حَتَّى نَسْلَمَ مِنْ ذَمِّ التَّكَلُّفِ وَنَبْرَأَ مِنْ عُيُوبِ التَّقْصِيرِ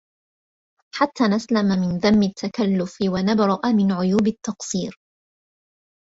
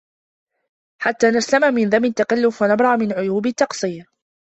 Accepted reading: first